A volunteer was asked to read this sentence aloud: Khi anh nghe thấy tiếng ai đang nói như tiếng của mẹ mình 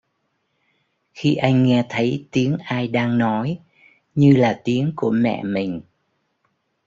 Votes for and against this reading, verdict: 0, 2, rejected